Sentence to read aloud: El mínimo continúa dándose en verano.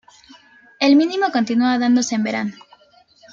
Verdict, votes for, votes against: accepted, 2, 0